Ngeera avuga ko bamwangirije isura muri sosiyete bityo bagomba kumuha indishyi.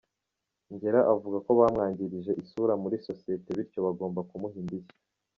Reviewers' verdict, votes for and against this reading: accepted, 2, 0